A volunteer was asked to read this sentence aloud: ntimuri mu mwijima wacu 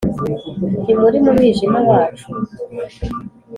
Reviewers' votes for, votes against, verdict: 4, 0, accepted